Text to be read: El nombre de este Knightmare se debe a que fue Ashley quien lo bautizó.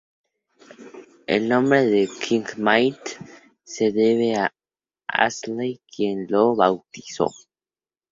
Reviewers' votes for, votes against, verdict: 0, 2, rejected